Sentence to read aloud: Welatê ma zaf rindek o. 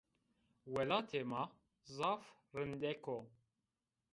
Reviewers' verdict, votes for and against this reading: accepted, 2, 0